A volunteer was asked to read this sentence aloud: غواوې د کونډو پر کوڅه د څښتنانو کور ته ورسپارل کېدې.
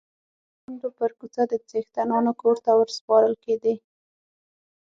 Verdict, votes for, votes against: rejected, 3, 6